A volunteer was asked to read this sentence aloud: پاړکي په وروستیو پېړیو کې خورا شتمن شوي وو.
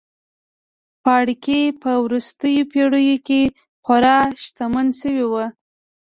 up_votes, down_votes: 2, 0